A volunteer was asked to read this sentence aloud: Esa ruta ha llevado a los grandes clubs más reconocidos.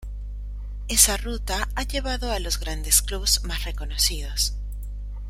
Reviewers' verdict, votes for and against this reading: accepted, 2, 1